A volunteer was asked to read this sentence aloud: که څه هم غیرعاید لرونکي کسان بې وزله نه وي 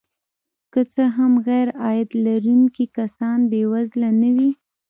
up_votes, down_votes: 1, 2